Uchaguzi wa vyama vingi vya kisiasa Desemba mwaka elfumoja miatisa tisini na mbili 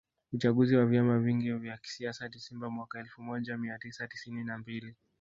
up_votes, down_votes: 2, 0